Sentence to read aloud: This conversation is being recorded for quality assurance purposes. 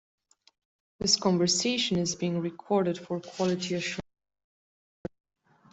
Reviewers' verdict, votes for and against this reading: rejected, 0, 2